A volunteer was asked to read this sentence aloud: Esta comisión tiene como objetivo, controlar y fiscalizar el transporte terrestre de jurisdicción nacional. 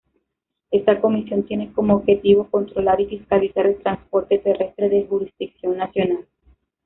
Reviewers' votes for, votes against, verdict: 2, 0, accepted